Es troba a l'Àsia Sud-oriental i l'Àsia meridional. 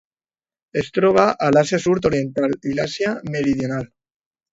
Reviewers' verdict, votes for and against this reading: rejected, 1, 2